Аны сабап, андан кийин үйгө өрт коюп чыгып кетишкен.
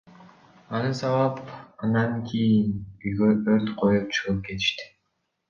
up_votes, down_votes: 2, 1